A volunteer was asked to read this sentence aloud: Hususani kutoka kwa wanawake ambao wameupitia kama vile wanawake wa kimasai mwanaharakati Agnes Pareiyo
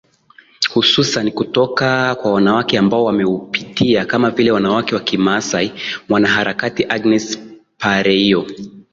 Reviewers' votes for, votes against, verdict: 13, 0, accepted